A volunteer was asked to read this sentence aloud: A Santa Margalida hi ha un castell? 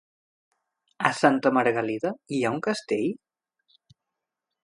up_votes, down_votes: 1, 2